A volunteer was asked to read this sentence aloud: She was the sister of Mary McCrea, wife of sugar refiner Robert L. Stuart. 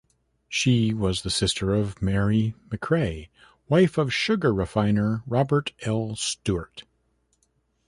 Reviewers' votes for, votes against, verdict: 2, 0, accepted